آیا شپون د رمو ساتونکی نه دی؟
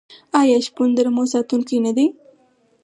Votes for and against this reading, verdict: 4, 0, accepted